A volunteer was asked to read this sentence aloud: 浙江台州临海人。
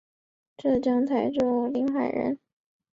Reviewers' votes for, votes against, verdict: 3, 0, accepted